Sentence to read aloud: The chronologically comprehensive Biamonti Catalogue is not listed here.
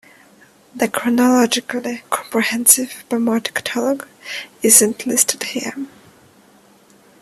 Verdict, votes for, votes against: rejected, 1, 2